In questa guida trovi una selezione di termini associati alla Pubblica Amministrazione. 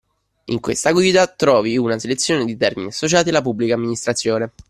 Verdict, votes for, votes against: accepted, 2, 0